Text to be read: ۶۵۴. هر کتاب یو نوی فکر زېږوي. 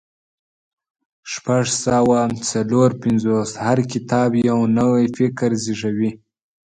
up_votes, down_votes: 0, 2